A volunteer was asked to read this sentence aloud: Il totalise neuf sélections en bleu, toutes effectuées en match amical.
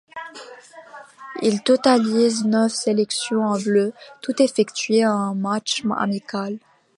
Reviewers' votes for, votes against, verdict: 1, 2, rejected